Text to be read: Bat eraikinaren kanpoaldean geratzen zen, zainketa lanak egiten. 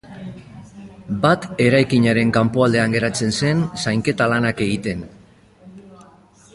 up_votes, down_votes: 2, 0